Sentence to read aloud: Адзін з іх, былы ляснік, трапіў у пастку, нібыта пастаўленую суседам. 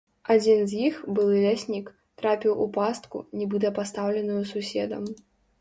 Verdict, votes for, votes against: accepted, 2, 0